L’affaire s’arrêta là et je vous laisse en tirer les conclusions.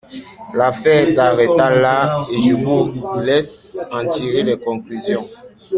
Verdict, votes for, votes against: rejected, 1, 2